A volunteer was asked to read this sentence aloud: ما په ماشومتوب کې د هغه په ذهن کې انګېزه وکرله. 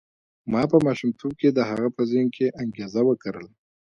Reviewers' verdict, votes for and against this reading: accepted, 2, 0